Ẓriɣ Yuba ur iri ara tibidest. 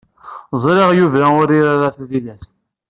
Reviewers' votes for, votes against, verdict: 1, 2, rejected